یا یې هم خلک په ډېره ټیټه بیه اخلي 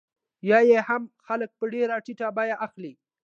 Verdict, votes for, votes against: accepted, 2, 0